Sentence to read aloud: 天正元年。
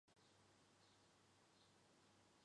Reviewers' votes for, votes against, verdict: 0, 3, rejected